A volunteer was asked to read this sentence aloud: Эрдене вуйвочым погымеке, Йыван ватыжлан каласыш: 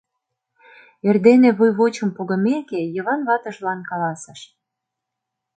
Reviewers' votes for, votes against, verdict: 2, 0, accepted